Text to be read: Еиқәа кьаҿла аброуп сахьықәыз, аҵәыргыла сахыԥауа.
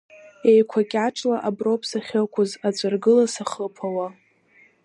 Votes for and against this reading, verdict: 2, 0, accepted